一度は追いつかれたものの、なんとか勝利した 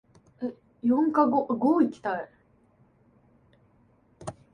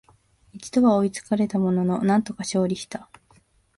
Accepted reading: second